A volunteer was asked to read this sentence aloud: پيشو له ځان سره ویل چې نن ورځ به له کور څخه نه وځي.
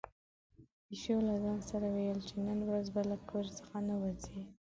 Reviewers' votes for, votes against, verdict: 2, 1, accepted